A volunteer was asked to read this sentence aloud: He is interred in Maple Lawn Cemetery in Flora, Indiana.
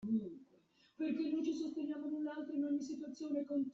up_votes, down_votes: 0, 2